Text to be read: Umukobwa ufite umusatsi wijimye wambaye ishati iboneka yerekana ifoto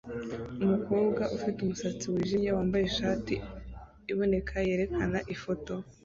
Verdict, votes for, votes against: accepted, 2, 1